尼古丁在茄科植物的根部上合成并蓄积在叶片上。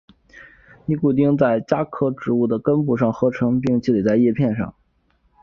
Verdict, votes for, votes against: rejected, 0, 3